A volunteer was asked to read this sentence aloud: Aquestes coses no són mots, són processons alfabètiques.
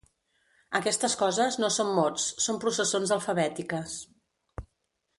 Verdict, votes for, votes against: accepted, 2, 0